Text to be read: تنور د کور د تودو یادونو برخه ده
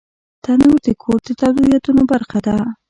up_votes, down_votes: 1, 2